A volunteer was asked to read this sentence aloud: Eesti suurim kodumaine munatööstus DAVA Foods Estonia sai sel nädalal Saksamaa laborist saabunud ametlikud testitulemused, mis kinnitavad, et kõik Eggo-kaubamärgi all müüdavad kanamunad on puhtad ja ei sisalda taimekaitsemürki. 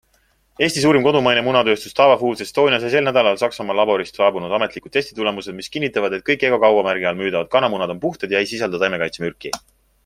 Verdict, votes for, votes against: accepted, 2, 0